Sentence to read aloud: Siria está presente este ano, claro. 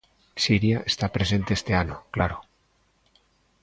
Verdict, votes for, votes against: accepted, 2, 0